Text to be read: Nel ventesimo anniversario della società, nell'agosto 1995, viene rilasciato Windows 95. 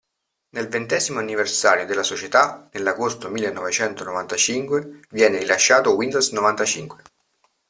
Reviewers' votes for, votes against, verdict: 0, 2, rejected